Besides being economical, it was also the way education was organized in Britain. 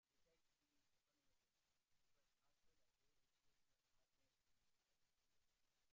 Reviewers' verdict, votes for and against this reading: rejected, 1, 2